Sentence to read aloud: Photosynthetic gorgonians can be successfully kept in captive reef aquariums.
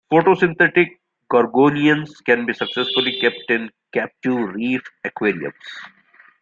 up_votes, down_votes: 1, 2